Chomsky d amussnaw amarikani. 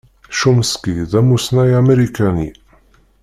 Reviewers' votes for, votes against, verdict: 0, 2, rejected